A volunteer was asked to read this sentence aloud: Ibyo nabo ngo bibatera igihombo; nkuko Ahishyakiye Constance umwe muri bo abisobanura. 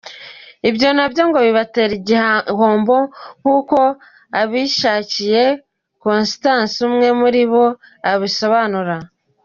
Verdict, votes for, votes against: rejected, 1, 2